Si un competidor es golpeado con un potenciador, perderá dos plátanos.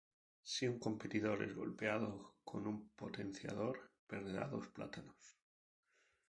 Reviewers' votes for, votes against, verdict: 2, 0, accepted